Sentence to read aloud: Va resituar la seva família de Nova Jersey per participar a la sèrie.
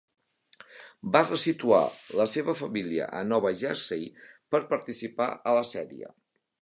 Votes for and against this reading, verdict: 1, 2, rejected